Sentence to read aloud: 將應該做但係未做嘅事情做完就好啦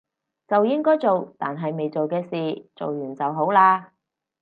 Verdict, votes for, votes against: rejected, 0, 4